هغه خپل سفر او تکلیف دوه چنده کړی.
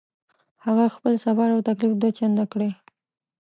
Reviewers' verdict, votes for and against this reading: rejected, 1, 2